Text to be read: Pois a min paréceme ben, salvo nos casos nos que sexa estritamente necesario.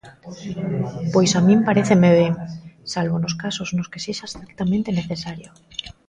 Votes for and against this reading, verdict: 1, 2, rejected